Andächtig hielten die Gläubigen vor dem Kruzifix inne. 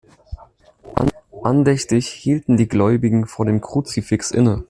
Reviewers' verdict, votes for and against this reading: accepted, 2, 1